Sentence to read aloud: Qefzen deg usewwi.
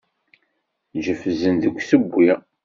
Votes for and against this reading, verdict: 1, 2, rejected